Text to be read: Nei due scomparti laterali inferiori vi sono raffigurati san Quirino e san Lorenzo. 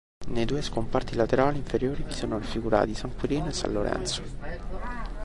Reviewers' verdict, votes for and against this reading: rejected, 1, 2